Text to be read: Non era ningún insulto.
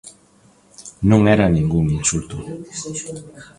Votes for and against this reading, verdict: 2, 1, accepted